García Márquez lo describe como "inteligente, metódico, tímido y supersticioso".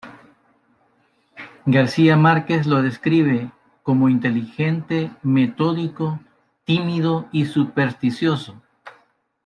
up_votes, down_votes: 2, 0